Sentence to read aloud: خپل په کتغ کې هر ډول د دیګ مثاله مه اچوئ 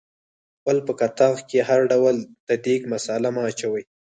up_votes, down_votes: 0, 4